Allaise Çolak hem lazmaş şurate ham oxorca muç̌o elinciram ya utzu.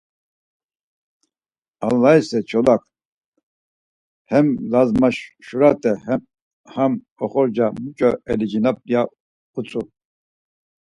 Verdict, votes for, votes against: rejected, 2, 4